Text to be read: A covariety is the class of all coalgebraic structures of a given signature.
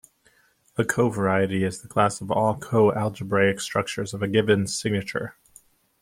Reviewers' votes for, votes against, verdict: 2, 0, accepted